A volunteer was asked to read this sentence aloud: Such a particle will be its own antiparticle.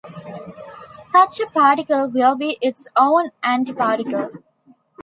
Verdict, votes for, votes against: accepted, 2, 0